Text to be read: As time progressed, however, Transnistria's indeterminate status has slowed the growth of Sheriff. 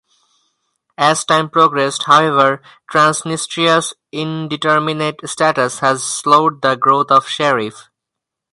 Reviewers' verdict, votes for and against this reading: accepted, 4, 0